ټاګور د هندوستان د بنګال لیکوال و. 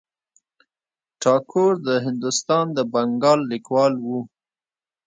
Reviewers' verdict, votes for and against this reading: rejected, 1, 2